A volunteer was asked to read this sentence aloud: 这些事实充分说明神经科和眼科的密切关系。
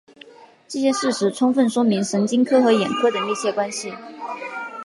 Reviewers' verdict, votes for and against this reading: accepted, 3, 1